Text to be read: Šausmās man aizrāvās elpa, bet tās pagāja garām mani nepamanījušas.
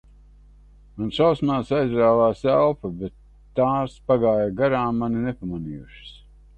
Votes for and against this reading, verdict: 0, 2, rejected